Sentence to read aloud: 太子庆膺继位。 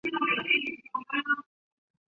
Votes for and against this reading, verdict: 0, 2, rejected